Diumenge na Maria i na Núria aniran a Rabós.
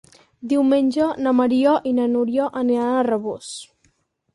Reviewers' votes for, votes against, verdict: 6, 0, accepted